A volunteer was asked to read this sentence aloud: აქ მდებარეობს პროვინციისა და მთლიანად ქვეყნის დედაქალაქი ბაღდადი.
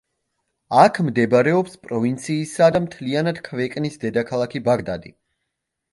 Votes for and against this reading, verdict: 0, 2, rejected